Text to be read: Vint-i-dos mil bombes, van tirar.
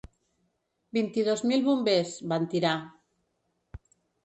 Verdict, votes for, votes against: rejected, 1, 2